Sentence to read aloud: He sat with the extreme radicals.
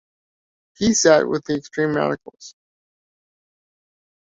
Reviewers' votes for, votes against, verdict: 2, 0, accepted